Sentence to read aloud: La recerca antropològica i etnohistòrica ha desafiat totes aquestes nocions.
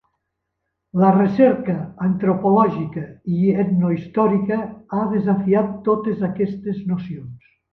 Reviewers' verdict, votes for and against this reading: accepted, 3, 0